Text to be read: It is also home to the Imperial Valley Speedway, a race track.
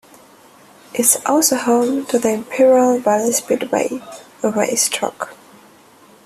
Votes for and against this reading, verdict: 1, 2, rejected